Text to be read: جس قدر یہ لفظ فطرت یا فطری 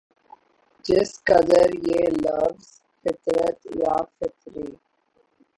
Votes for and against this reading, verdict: 3, 6, rejected